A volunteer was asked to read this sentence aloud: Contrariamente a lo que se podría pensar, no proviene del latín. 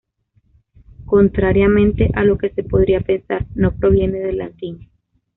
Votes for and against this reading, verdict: 2, 0, accepted